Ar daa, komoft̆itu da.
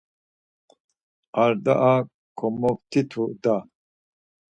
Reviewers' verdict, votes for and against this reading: accepted, 4, 0